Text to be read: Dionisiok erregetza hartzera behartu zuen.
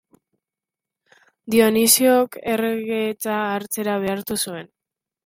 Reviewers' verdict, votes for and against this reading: accepted, 2, 1